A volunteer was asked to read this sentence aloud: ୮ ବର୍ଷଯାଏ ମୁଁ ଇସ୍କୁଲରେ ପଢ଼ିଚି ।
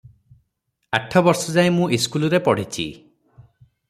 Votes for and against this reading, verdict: 0, 2, rejected